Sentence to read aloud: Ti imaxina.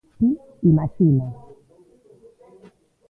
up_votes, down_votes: 0, 2